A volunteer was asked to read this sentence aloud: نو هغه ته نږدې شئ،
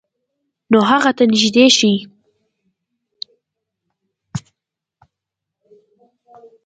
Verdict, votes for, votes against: accepted, 2, 0